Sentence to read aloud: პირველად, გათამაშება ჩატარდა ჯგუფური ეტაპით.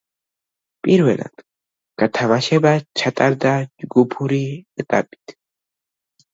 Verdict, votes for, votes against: rejected, 1, 2